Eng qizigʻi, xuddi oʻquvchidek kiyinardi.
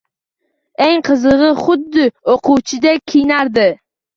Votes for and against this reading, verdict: 2, 1, accepted